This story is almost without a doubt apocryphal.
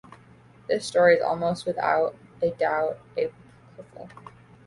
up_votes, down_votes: 0, 2